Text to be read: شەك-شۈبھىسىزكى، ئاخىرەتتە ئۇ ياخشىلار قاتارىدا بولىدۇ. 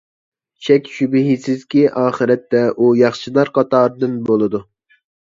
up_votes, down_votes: 0, 2